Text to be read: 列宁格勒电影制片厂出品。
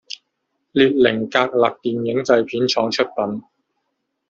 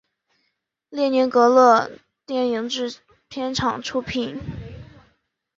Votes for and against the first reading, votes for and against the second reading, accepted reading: 1, 2, 4, 0, second